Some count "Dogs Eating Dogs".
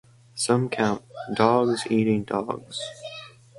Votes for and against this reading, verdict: 4, 0, accepted